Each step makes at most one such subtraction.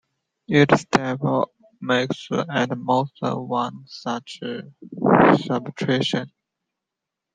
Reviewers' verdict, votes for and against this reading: rejected, 0, 2